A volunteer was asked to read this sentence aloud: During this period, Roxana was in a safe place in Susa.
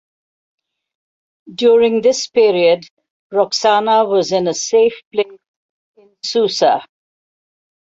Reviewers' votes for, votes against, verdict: 1, 2, rejected